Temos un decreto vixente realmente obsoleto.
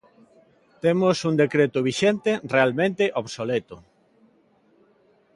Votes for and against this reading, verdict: 2, 0, accepted